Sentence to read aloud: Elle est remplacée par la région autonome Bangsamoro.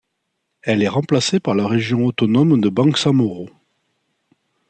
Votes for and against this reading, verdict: 1, 2, rejected